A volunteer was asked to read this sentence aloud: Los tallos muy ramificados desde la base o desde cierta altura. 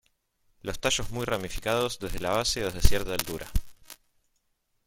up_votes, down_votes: 1, 2